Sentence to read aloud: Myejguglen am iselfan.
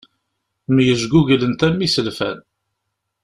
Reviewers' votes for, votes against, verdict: 1, 2, rejected